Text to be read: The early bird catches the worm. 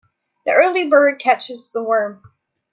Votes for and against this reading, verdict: 2, 0, accepted